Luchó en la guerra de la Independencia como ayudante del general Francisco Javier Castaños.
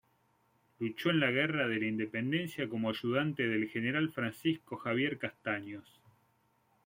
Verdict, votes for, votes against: accepted, 2, 0